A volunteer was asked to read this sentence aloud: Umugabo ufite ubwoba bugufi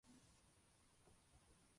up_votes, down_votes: 0, 2